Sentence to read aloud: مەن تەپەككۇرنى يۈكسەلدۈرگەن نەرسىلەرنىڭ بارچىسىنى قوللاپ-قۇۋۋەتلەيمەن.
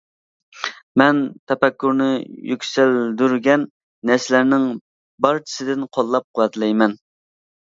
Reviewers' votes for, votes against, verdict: 0, 2, rejected